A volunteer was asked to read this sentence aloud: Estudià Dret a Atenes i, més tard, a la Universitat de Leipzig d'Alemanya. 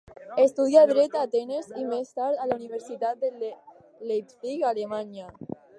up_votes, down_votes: 2, 4